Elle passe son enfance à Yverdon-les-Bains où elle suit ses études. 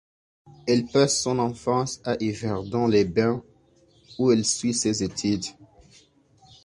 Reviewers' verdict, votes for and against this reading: accepted, 2, 0